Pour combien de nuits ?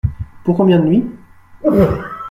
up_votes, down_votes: 0, 2